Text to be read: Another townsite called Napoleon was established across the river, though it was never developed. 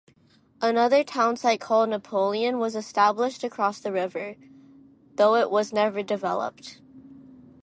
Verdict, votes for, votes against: accepted, 2, 0